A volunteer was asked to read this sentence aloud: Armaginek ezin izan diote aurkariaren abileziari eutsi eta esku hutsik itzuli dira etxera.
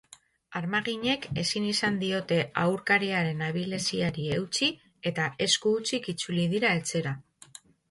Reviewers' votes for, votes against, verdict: 0, 2, rejected